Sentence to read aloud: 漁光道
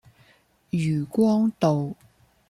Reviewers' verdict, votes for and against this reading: accepted, 2, 0